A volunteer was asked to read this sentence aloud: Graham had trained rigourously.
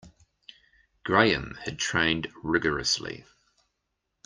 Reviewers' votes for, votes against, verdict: 2, 0, accepted